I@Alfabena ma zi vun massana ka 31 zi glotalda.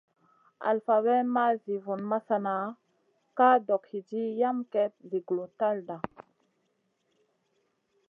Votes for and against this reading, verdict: 0, 2, rejected